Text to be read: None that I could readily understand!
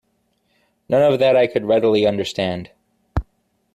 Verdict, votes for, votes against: rejected, 1, 2